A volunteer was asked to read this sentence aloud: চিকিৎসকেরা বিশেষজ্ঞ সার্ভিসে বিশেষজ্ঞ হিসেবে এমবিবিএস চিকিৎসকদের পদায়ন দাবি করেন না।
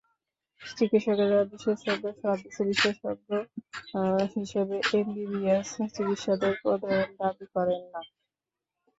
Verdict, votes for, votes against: rejected, 0, 2